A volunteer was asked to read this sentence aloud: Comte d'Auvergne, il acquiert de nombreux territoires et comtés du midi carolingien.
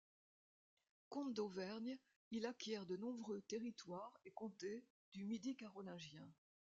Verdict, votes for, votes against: rejected, 1, 2